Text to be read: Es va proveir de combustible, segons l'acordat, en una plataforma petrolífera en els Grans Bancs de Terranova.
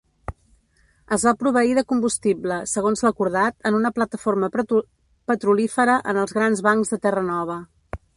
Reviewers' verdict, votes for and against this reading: rejected, 0, 2